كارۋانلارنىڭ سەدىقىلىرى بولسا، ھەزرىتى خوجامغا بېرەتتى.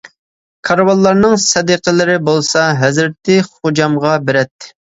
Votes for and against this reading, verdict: 2, 0, accepted